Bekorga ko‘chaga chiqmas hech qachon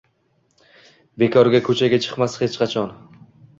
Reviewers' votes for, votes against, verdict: 2, 0, accepted